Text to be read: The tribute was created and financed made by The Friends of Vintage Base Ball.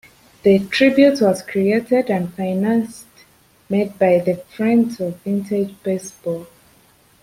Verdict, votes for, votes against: rejected, 1, 2